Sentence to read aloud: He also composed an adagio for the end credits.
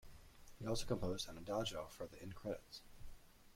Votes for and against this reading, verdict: 2, 1, accepted